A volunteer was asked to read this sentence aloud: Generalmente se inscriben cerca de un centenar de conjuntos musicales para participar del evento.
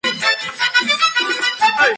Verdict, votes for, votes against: rejected, 0, 2